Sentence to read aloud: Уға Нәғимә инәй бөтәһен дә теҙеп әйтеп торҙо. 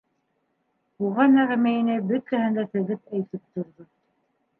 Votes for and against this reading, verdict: 1, 2, rejected